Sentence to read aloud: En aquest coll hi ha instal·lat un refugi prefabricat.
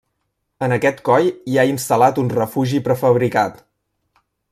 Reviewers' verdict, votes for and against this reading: accepted, 3, 0